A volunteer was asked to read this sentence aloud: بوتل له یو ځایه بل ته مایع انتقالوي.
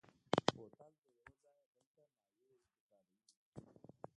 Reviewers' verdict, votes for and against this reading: rejected, 1, 2